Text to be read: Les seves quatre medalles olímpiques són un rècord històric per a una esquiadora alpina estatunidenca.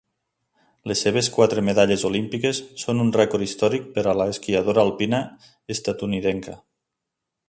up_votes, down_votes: 0, 2